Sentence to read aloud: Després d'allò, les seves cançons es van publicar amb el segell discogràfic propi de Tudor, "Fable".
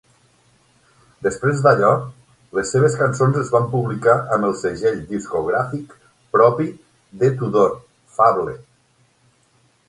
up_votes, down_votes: 9, 0